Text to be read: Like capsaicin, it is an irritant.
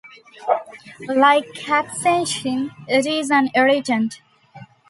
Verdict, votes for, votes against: rejected, 0, 2